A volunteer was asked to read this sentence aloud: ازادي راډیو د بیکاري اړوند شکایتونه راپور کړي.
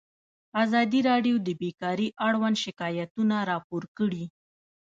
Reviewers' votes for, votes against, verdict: 1, 2, rejected